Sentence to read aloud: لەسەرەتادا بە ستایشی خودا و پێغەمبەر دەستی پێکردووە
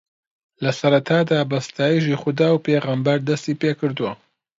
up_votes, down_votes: 2, 0